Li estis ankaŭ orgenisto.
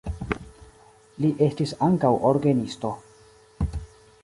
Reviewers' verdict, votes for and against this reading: accepted, 2, 0